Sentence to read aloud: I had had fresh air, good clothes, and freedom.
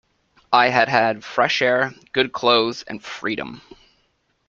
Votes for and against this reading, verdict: 2, 1, accepted